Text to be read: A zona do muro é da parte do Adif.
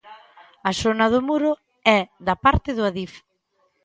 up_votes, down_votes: 2, 0